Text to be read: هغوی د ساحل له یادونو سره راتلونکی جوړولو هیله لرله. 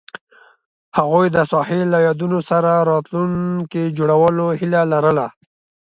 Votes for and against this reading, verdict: 2, 0, accepted